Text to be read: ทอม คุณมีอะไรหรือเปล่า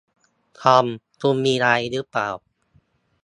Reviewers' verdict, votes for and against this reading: rejected, 0, 2